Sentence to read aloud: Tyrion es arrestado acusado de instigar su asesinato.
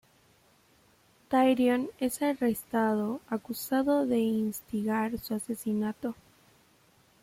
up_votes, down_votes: 2, 0